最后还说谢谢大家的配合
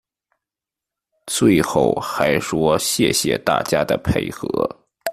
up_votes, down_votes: 2, 0